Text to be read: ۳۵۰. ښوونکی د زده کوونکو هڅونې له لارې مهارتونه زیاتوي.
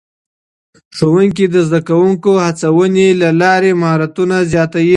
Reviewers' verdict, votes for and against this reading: rejected, 0, 2